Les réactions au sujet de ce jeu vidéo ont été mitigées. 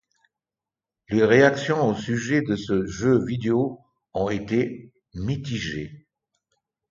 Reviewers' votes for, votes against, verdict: 2, 0, accepted